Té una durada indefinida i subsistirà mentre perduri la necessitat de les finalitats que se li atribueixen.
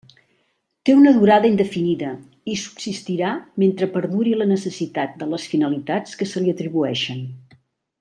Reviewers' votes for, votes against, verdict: 3, 0, accepted